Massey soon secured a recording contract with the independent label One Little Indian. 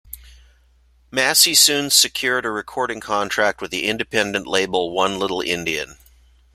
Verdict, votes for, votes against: accepted, 2, 0